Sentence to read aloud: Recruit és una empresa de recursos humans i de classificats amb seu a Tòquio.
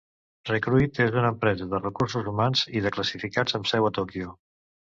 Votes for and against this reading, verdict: 2, 0, accepted